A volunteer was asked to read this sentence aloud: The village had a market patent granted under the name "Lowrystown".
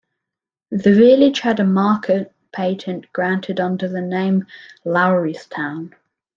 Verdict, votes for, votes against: accepted, 2, 0